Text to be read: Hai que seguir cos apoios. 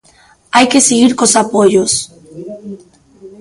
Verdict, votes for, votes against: accepted, 2, 0